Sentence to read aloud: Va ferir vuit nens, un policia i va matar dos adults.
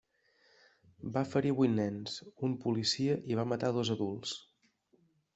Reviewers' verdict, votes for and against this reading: accepted, 2, 0